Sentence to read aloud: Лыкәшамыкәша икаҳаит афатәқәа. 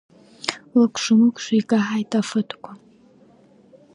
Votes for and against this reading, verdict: 0, 2, rejected